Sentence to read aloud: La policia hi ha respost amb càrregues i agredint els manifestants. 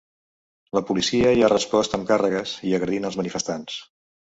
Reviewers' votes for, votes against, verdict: 3, 0, accepted